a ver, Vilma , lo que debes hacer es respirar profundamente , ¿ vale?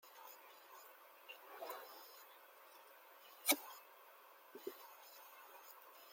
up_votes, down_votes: 0, 2